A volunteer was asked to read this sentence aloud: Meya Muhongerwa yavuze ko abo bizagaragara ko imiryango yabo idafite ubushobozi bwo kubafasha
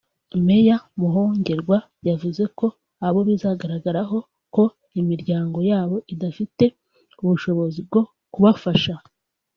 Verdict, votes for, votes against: rejected, 1, 2